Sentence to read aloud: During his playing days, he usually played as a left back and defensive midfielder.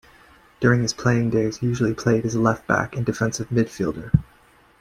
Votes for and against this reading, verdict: 2, 0, accepted